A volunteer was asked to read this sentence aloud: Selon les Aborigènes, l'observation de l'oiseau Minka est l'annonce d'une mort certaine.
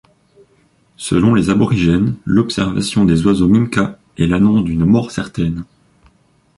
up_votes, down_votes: 0, 2